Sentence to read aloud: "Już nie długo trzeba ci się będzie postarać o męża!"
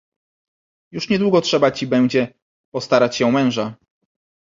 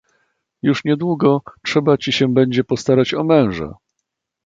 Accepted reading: second